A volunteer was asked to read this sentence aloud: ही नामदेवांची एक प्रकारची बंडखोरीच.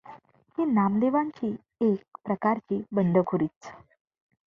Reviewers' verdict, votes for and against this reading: accepted, 2, 0